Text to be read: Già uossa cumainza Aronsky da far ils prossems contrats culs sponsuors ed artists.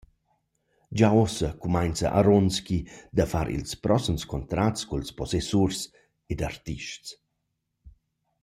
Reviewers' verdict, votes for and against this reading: rejected, 0, 2